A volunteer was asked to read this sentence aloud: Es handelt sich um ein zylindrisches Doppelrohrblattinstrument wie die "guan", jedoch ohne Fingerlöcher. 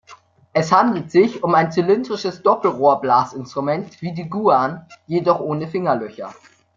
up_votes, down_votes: 0, 2